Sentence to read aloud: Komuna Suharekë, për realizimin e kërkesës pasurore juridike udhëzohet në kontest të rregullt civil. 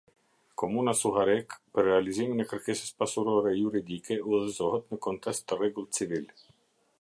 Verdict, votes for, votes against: accepted, 2, 0